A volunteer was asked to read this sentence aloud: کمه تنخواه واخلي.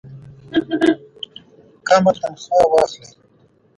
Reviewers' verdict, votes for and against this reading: rejected, 1, 2